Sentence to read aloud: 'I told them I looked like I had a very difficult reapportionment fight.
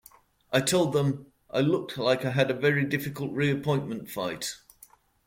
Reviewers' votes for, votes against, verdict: 1, 2, rejected